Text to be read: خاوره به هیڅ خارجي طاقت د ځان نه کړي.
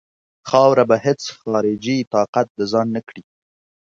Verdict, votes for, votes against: accepted, 2, 0